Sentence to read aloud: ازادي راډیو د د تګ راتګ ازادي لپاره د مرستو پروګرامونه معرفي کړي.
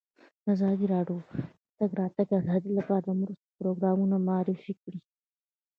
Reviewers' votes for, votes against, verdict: 0, 2, rejected